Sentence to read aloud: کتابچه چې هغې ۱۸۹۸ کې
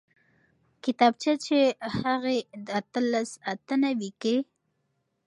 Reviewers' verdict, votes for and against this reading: rejected, 0, 2